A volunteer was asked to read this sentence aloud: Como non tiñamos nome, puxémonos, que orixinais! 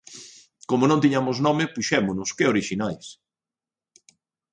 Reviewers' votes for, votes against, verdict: 2, 0, accepted